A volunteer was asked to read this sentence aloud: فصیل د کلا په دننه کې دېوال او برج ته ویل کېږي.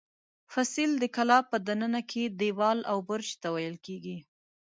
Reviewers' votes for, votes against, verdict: 2, 0, accepted